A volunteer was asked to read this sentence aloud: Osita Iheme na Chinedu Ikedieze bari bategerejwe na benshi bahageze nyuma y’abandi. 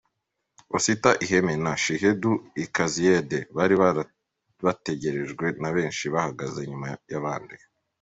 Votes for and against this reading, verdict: 0, 2, rejected